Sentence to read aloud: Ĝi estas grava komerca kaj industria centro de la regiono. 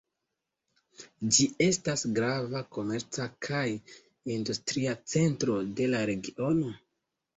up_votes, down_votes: 2, 0